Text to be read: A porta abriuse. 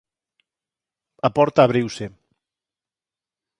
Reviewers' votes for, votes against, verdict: 4, 0, accepted